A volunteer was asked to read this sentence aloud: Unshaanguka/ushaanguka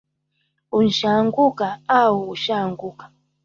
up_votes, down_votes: 2, 1